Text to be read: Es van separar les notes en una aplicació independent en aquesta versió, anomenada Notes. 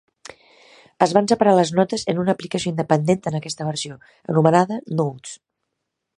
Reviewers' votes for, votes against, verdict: 0, 2, rejected